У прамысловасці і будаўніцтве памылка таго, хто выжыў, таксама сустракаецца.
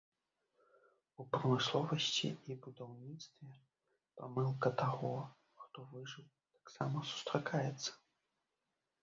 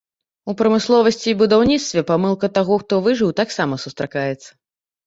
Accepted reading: second